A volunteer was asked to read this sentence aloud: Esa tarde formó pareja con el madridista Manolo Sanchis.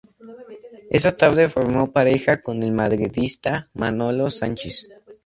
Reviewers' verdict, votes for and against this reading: accepted, 2, 0